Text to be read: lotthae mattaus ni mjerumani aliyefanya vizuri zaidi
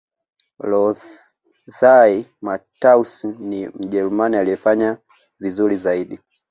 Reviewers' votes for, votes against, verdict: 2, 0, accepted